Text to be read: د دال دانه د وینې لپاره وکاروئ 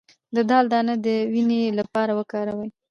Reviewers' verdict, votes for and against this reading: rejected, 0, 2